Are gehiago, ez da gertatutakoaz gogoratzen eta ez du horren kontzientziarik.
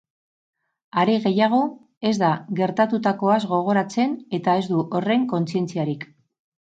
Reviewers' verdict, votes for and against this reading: rejected, 0, 2